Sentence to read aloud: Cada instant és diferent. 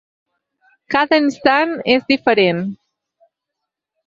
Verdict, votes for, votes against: accepted, 6, 0